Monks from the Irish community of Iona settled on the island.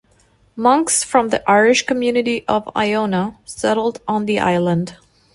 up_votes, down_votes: 2, 0